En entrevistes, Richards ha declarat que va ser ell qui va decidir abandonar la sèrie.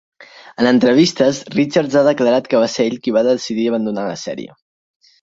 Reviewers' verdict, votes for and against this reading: accepted, 6, 0